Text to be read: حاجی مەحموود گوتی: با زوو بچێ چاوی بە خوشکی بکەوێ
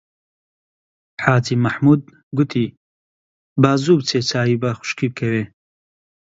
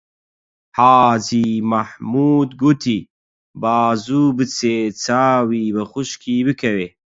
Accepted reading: first